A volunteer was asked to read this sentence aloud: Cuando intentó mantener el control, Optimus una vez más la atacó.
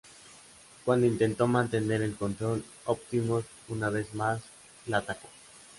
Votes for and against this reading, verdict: 4, 0, accepted